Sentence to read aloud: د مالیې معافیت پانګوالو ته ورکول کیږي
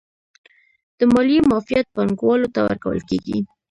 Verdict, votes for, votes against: rejected, 1, 3